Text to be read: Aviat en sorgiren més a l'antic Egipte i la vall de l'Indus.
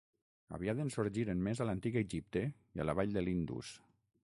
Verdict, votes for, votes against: rejected, 3, 6